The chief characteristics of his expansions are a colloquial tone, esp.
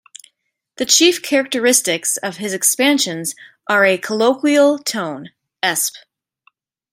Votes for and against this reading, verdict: 2, 0, accepted